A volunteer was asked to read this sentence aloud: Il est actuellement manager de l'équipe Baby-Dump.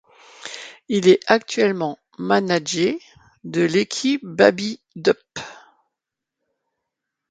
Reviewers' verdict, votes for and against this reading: rejected, 0, 2